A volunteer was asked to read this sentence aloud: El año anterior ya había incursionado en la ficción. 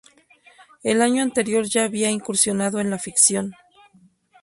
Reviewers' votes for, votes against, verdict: 2, 0, accepted